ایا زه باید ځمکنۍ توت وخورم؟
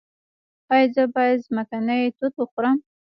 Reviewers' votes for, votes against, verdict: 0, 2, rejected